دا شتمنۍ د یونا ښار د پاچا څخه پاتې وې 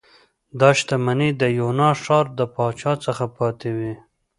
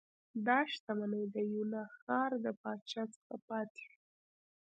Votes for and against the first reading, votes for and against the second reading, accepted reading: 2, 0, 1, 2, first